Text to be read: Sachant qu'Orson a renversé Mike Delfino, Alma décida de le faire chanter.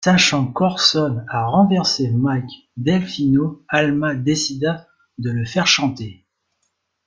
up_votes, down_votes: 2, 0